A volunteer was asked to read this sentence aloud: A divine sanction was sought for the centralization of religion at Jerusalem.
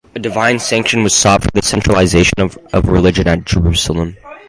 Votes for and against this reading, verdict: 0, 4, rejected